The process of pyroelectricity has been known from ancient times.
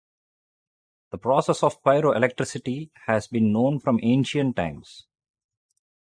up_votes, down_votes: 0, 2